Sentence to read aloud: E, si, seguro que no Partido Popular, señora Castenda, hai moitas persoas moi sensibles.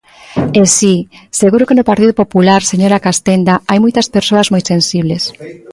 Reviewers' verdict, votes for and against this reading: rejected, 0, 2